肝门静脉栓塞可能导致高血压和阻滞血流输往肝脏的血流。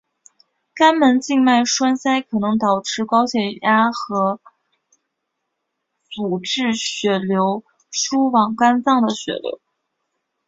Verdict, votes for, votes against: rejected, 1, 2